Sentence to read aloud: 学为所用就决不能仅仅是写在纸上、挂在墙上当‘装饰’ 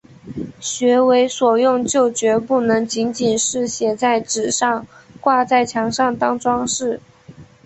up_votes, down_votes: 2, 0